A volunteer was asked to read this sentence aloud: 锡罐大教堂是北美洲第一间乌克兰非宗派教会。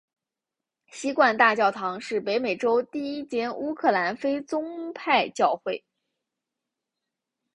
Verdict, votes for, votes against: accepted, 3, 1